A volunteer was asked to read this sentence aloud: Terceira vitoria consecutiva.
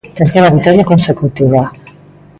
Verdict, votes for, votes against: accepted, 2, 0